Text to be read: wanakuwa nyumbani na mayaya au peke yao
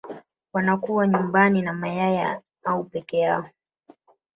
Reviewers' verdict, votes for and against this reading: rejected, 1, 2